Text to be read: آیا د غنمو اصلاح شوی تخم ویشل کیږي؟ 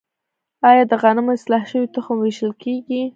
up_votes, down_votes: 1, 3